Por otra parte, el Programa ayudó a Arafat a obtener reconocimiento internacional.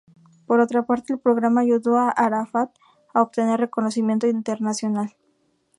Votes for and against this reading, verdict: 2, 0, accepted